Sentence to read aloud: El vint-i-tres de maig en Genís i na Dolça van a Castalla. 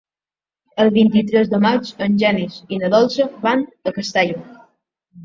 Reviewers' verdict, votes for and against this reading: accepted, 2, 0